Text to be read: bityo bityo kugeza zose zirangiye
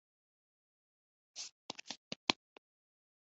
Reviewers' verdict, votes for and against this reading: rejected, 0, 2